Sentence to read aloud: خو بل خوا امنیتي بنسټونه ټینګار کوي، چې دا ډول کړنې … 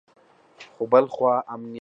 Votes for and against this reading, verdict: 0, 2, rejected